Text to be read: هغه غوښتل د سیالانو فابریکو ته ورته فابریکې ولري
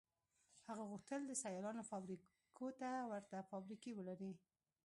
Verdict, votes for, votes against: accepted, 2, 1